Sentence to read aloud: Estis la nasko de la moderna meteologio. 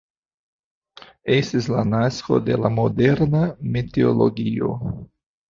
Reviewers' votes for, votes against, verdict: 2, 0, accepted